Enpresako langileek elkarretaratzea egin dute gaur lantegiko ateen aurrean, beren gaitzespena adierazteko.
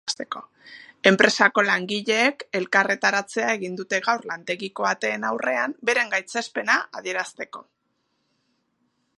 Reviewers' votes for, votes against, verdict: 2, 0, accepted